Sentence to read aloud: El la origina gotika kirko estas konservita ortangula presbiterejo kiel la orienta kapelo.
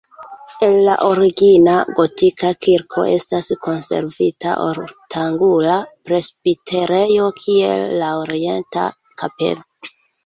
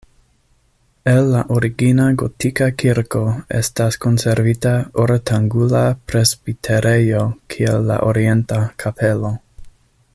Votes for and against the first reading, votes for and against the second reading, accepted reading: 1, 2, 2, 0, second